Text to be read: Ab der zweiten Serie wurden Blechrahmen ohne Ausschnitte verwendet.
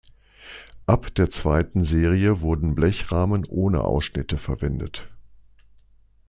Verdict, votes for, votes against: accepted, 2, 0